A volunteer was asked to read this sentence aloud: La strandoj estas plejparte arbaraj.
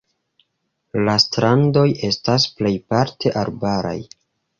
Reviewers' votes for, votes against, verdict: 0, 2, rejected